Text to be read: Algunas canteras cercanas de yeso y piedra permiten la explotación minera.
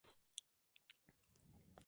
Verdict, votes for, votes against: accepted, 2, 0